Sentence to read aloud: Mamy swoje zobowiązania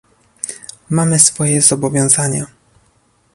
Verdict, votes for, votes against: accepted, 2, 0